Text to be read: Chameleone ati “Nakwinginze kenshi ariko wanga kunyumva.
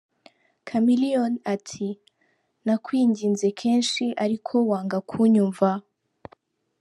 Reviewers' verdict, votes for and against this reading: accepted, 2, 0